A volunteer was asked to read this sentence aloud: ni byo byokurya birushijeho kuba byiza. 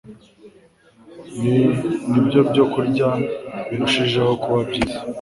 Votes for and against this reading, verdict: 2, 0, accepted